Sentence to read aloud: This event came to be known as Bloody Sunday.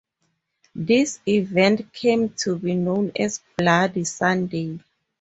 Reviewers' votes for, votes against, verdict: 4, 0, accepted